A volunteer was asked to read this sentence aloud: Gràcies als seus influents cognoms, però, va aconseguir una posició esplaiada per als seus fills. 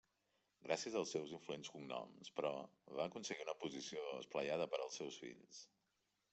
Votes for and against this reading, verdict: 1, 2, rejected